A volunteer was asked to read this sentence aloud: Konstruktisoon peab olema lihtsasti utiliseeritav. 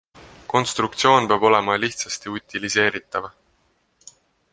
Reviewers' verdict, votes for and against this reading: accepted, 2, 0